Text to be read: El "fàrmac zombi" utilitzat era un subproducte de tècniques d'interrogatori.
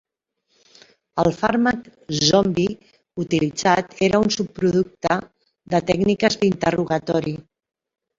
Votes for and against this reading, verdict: 2, 1, accepted